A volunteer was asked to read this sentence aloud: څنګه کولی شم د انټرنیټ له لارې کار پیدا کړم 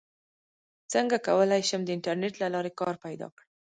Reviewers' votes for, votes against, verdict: 1, 2, rejected